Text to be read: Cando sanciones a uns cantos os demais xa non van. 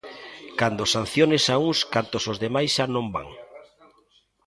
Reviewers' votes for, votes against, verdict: 2, 0, accepted